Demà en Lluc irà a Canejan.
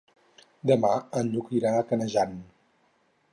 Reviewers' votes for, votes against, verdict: 4, 0, accepted